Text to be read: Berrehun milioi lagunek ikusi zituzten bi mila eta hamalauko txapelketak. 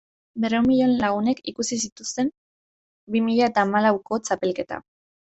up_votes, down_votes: 1, 2